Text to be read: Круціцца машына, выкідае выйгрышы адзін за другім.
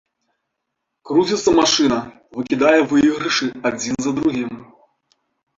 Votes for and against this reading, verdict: 2, 1, accepted